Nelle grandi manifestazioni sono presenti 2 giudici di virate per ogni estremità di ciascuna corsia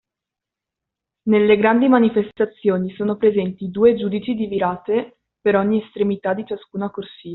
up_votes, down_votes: 0, 2